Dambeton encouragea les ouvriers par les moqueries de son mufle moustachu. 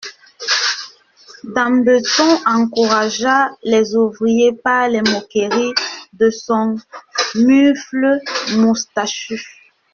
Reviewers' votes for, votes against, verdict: 0, 2, rejected